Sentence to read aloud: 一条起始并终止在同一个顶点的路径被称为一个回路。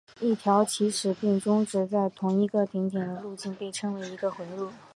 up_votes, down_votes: 3, 3